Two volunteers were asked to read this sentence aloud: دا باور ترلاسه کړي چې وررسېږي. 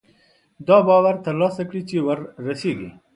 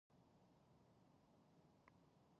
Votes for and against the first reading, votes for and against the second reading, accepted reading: 2, 0, 0, 4, first